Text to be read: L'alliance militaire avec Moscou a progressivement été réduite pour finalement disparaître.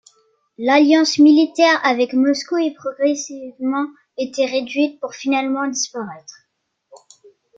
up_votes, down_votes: 1, 2